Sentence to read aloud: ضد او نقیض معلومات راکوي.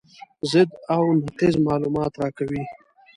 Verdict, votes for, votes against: accepted, 2, 0